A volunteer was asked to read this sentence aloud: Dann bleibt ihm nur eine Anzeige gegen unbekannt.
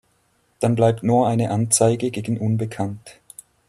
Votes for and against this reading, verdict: 1, 4, rejected